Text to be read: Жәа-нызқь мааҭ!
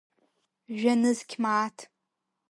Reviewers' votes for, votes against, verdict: 4, 0, accepted